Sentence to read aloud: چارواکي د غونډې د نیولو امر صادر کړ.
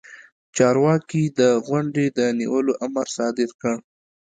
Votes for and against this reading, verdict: 2, 0, accepted